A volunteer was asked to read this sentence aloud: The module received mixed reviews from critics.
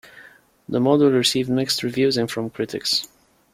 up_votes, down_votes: 1, 2